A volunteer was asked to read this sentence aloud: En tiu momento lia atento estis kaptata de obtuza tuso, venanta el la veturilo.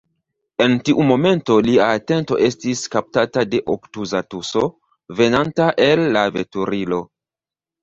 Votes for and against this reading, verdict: 2, 0, accepted